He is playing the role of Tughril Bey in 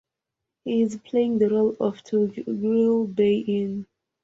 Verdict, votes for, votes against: rejected, 1, 2